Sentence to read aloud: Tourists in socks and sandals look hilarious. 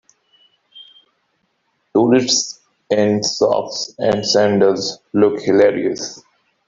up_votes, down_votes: 2, 0